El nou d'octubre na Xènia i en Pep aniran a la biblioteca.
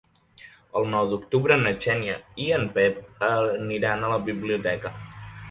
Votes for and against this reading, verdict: 0, 2, rejected